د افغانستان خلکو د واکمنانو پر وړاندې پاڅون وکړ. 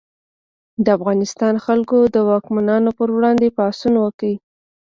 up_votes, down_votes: 2, 0